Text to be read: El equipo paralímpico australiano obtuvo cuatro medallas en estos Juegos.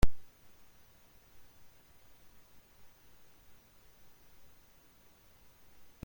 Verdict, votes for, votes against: rejected, 0, 2